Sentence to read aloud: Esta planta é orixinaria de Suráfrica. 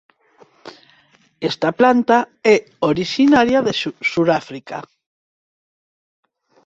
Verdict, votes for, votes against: rejected, 2, 4